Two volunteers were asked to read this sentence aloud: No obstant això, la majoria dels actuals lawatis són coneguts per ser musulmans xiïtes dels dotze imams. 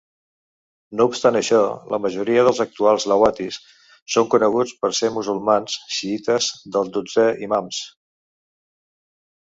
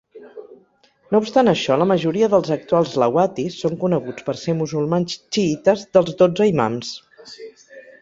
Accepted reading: second